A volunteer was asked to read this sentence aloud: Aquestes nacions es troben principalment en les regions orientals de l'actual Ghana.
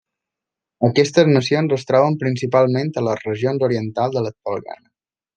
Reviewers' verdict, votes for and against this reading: accepted, 2, 0